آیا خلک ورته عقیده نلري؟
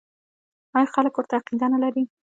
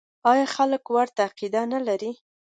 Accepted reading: second